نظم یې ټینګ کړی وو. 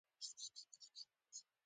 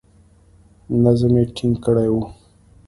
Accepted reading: second